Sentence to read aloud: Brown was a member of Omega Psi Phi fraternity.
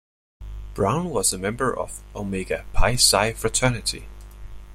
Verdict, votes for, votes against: rejected, 0, 2